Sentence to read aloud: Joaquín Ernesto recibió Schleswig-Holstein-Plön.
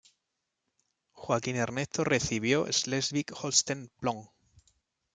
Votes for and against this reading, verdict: 1, 2, rejected